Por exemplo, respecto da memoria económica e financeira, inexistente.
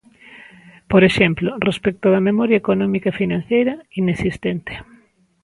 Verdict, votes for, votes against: rejected, 1, 2